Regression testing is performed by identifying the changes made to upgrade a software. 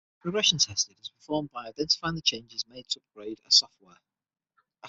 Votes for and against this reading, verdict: 0, 6, rejected